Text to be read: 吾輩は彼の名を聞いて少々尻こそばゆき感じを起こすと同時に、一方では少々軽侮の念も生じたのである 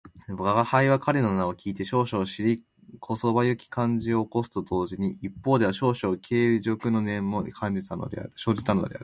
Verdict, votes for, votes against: rejected, 0, 2